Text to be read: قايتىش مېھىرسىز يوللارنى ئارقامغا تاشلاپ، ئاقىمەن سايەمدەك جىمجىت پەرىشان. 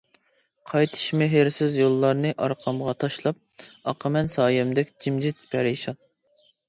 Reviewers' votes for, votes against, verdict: 2, 0, accepted